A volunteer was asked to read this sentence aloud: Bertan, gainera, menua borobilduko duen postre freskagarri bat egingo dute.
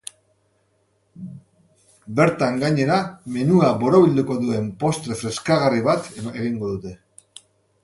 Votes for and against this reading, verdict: 1, 2, rejected